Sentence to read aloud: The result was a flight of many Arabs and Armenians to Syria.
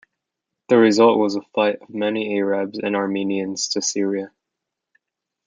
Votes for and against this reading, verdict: 1, 2, rejected